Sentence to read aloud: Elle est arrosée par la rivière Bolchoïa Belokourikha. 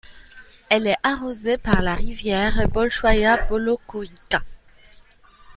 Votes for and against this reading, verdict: 0, 2, rejected